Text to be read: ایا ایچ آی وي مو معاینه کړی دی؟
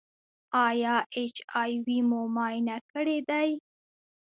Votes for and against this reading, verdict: 2, 0, accepted